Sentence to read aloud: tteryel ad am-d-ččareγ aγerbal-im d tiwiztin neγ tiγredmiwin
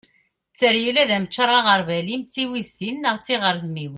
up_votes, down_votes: 2, 1